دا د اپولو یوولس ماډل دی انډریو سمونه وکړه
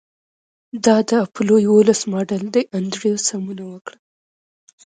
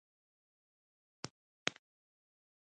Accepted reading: first